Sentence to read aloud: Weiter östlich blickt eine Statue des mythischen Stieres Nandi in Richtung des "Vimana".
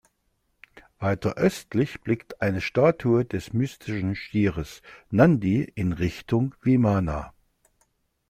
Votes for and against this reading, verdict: 0, 2, rejected